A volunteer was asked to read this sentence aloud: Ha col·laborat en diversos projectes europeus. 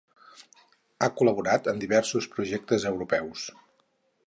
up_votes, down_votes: 4, 0